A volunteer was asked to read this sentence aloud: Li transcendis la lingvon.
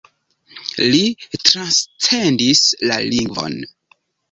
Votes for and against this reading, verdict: 1, 3, rejected